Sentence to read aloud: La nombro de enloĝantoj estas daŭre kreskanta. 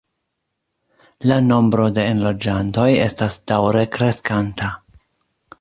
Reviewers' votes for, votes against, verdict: 2, 0, accepted